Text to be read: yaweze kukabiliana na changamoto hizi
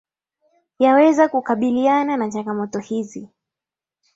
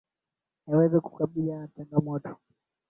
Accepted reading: first